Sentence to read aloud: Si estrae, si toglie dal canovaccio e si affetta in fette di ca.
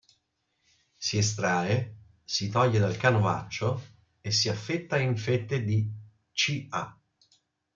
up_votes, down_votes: 2, 0